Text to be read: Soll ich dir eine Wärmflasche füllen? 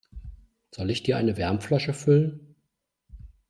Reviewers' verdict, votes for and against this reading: accepted, 2, 0